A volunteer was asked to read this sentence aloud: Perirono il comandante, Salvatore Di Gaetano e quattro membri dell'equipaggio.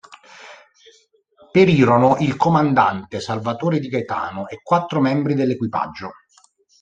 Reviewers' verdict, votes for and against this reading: accepted, 2, 0